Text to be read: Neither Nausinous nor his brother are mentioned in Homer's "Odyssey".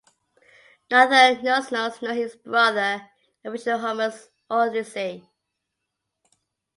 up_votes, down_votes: 1, 3